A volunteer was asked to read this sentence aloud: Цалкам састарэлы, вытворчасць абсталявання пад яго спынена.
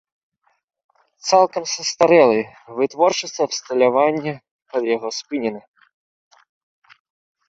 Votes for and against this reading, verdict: 0, 2, rejected